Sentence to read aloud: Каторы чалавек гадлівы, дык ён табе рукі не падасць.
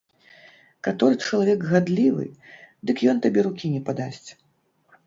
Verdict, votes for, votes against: rejected, 1, 2